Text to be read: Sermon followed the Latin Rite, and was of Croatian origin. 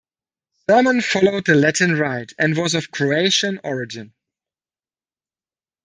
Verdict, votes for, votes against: accepted, 2, 1